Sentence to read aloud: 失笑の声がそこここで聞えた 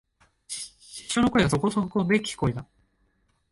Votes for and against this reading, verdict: 2, 3, rejected